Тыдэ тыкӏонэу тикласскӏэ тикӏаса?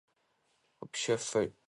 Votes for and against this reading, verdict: 0, 2, rejected